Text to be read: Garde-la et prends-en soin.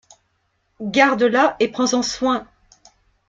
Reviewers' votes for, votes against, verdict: 2, 0, accepted